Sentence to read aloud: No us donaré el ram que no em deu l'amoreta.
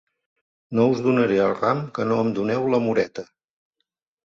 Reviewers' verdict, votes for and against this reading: rejected, 1, 2